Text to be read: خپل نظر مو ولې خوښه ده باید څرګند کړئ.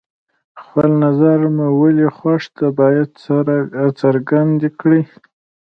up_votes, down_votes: 1, 2